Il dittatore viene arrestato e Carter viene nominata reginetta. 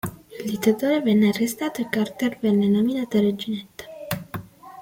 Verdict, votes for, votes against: accepted, 2, 1